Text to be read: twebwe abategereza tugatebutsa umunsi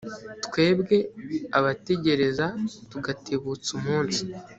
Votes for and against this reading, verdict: 1, 2, rejected